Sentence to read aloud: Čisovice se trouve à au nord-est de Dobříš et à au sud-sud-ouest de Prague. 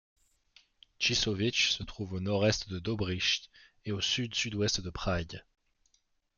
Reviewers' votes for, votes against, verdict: 1, 2, rejected